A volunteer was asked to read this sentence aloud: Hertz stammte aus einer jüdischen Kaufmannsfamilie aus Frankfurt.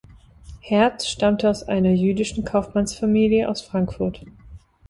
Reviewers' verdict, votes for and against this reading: accepted, 2, 0